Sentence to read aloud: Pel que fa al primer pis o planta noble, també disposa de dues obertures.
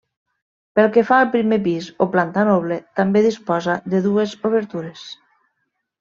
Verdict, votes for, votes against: accepted, 3, 0